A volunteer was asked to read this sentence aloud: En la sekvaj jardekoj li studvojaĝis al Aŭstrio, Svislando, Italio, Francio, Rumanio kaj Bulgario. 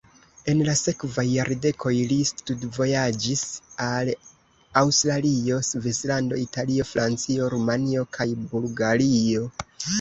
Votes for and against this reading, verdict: 0, 2, rejected